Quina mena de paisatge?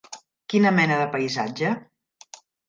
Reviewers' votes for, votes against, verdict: 3, 0, accepted